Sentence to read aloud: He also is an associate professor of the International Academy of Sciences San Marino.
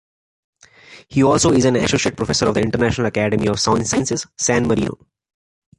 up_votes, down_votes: 2, 0